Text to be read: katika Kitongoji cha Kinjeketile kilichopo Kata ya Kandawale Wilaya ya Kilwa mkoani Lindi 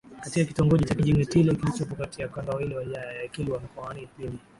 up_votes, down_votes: 1, 2